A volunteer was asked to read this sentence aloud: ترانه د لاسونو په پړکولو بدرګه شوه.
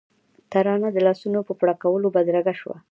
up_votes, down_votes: 2, 0